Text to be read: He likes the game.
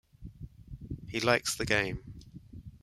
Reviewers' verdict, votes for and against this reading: rejected, 1, 2